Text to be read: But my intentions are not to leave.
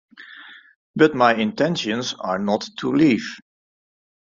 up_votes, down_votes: 0, 2